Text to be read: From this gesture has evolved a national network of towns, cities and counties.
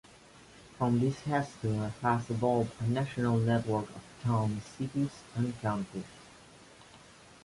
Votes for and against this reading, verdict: 0, 2, rejected